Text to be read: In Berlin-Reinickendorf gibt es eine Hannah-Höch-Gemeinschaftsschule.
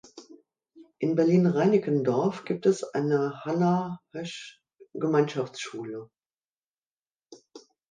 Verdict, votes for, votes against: rejected, 1, 2